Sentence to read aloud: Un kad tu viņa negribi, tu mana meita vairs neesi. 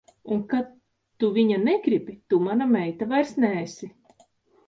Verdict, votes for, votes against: accepted, 2, 0